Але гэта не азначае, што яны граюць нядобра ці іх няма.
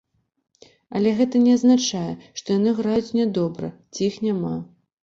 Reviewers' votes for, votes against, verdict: 2, 0, accepted